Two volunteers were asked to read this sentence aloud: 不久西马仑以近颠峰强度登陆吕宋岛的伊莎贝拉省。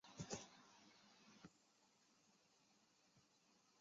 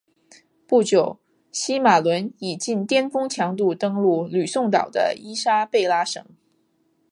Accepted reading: second